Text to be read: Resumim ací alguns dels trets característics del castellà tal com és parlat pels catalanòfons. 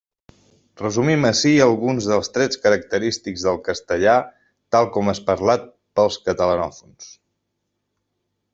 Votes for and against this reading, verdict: 3, 0, accepted